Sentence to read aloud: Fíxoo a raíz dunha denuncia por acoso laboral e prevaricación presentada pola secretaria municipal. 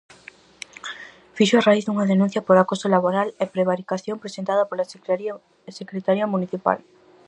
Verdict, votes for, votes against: rejected, 0, 4